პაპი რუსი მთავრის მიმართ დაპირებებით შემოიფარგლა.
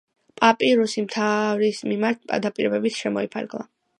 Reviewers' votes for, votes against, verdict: 1, 2, rejected